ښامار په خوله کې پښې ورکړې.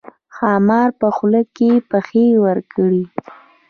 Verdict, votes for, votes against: accepted, 3, 0